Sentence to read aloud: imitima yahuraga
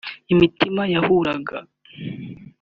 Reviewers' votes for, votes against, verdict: 4, 0, accepted